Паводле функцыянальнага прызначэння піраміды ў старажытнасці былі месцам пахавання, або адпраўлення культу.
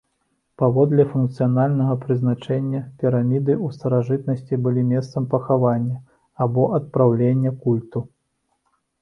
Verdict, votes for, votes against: rejected, 0, 2